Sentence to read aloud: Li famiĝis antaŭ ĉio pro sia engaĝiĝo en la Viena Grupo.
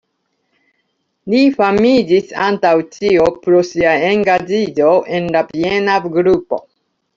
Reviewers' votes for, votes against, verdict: 2, 1, accepted